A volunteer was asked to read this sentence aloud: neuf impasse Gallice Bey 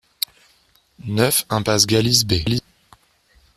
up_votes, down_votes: 0, 2